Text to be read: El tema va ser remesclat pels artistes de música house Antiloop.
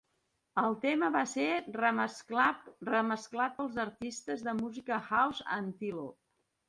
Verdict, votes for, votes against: rejected, 0, 2